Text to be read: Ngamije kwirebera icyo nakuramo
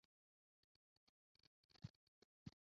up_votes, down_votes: 1, 2